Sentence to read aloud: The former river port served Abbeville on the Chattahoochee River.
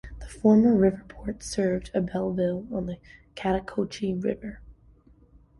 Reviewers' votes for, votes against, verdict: 2, 0, accepted